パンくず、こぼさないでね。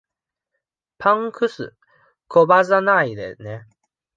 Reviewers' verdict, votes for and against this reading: rejected, 1, 2